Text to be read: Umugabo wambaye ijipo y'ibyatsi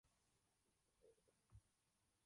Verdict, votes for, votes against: rejected, 1, 2